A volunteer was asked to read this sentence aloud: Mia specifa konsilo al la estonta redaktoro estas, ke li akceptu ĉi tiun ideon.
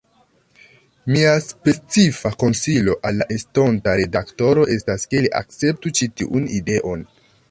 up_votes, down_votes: 2, 1